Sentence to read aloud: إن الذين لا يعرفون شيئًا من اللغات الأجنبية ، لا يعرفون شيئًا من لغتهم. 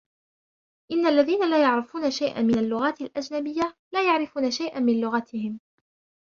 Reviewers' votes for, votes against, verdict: 2, 0, accepted